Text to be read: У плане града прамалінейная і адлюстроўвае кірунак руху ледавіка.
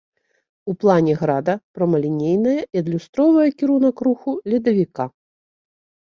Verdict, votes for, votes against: rejected, 0, 2